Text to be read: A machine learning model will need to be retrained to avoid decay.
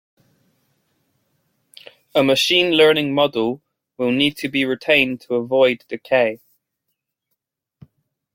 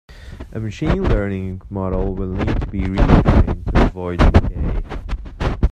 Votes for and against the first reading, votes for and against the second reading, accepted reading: 1, 2, 2, 1, second